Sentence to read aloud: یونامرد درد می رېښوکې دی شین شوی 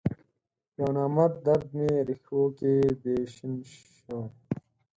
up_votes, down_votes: 4, 2